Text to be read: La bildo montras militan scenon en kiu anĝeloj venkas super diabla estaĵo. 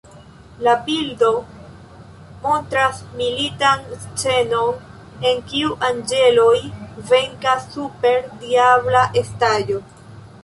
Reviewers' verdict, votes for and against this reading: rejected, 1, 3